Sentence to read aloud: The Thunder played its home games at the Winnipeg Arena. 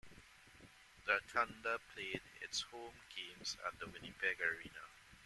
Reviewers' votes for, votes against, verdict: 2, 0, accepted